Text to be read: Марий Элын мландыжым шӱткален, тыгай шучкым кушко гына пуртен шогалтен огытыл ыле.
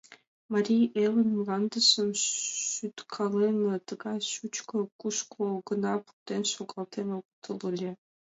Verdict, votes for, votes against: accepted, 2, 0